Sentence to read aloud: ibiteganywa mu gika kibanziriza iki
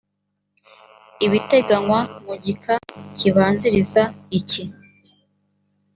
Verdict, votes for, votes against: accepted, 2, 0